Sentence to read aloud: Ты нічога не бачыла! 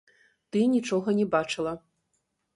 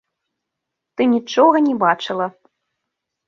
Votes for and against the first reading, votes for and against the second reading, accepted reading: 0, 2, 3, 0, second